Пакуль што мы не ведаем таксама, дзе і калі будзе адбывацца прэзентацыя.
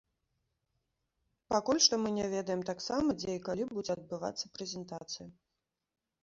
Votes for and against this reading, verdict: 2, 0, accepted